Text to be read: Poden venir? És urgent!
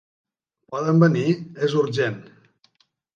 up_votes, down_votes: 4, 0